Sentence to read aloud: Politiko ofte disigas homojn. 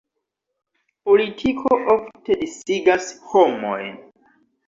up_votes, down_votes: 2, 0